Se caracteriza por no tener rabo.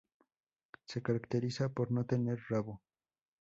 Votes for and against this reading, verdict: 4, 0, accepted